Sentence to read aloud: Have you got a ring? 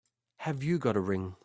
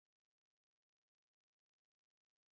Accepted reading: first